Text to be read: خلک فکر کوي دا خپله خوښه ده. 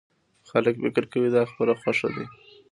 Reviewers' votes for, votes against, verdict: 2, 0, accepted